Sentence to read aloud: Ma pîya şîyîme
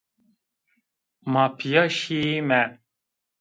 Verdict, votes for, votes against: rejected, 1, 2